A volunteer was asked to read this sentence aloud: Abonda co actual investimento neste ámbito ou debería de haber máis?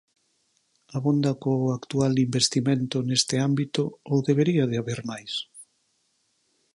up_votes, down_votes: 4, 0